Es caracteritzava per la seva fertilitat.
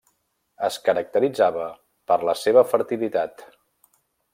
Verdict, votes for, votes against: accepted, 3, 1